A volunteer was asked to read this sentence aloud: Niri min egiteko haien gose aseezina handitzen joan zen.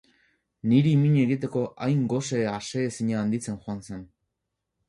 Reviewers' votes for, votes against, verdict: 0, 2, rejected